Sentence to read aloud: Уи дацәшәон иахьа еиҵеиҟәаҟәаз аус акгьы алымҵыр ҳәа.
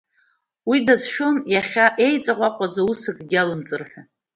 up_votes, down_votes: 0, 2